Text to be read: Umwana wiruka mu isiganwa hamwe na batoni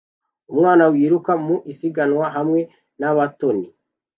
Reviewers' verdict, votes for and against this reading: accepted, 2, 0